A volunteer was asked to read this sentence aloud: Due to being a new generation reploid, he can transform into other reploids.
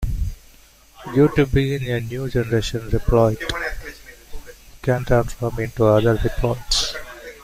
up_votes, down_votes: 0, 2